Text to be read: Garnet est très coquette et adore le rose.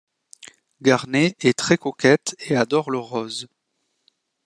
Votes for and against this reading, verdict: 1, 2, rejected